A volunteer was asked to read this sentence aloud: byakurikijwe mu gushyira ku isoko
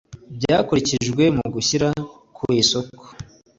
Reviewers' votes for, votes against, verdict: 2, 0, accepted